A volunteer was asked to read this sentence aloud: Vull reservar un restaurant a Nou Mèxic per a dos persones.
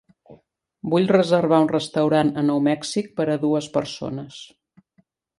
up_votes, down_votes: 1, 3